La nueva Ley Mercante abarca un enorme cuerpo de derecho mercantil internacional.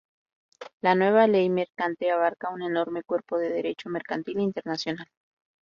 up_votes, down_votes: 0, 2